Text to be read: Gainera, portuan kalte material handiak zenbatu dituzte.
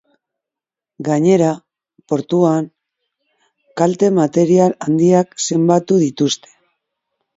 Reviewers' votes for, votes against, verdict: 2, 0, accepted